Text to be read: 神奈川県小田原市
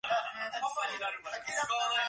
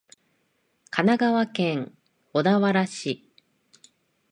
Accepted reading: second